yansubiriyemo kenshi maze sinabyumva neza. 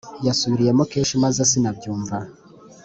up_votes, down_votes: 0, 3